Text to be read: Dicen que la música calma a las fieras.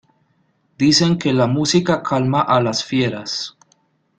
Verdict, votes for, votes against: accepted, 2, 0